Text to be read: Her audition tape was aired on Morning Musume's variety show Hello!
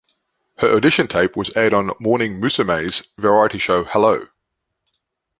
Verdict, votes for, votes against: accepted, 3, 0